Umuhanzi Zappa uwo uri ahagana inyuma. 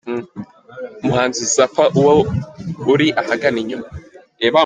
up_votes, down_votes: 2, 3